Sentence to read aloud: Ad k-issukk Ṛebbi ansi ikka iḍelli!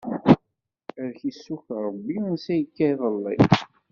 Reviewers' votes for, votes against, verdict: 2, 0, accepted